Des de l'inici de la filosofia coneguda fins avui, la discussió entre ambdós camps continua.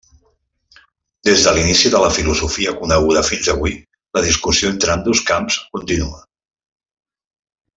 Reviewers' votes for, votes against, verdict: 1, 2, rejected